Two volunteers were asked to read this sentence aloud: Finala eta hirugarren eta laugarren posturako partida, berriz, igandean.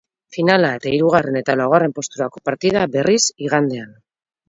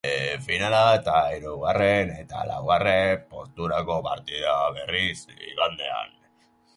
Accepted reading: first